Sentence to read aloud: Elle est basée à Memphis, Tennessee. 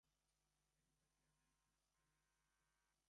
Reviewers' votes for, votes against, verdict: 0, 2, rejected